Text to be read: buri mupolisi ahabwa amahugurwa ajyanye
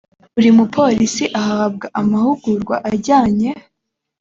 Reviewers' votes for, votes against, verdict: 3, 0, accepted